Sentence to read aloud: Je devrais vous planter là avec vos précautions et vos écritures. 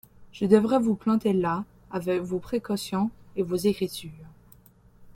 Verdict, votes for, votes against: rejected, 1, 2